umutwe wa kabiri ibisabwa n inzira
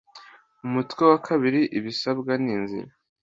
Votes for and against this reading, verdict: 2, 0, accepted